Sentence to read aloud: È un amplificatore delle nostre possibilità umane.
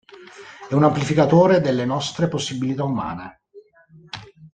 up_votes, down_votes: 0, 2